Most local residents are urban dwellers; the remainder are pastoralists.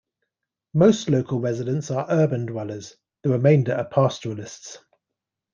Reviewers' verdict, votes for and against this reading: accepted, 2, 1